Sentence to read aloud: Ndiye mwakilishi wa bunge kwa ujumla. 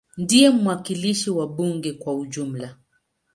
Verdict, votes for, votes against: accepted, 2, 0